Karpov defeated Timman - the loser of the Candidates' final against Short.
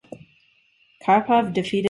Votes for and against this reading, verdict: 0, 2, rejected